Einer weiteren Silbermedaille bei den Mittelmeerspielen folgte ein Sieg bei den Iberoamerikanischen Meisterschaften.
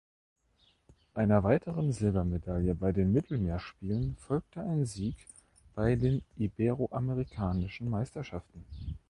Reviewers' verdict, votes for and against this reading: accepted, 2, 0